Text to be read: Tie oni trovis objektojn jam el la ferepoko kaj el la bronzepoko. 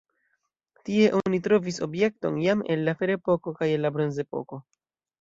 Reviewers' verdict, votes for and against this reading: accepted, 2, 0